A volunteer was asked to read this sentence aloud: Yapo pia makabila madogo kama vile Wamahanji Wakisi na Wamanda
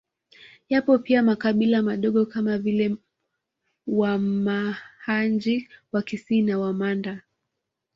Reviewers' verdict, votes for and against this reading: rejected, 0, 2